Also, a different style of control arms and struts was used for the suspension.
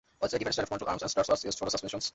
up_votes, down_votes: 0, 2